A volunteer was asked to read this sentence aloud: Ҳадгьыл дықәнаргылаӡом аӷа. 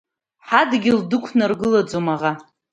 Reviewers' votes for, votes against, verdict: 2, 0, accepted